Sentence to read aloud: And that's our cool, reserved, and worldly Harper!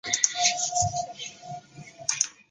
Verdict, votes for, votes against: rejected, 0, 2